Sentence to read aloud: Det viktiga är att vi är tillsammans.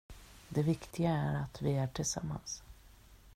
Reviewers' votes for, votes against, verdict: 2, 0, accepted